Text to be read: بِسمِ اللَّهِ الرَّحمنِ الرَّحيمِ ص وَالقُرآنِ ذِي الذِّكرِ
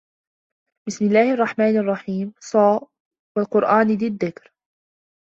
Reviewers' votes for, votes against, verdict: 1, 2, rejected